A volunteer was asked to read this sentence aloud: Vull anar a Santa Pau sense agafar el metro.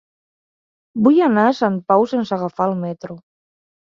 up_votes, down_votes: 2, 3